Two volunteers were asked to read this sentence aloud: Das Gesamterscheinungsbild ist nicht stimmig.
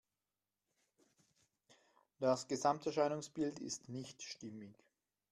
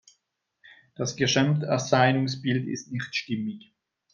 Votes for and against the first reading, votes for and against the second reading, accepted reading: 2, 0, 1, 2, first